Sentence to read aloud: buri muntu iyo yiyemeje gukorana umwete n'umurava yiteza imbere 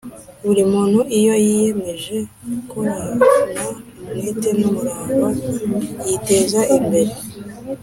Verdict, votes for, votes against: accepted, 2, 0